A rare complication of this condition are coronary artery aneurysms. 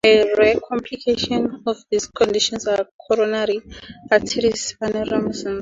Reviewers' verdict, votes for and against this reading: rejected, 2, 2